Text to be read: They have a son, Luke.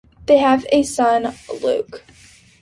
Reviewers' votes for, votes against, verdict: 2, 0, accepted